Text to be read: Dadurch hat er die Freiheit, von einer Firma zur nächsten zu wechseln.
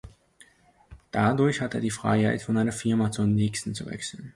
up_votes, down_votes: 2, 0